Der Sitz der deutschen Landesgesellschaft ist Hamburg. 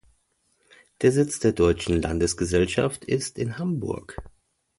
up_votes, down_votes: 0, 2